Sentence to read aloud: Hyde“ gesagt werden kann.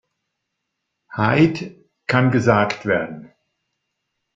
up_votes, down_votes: 0, 2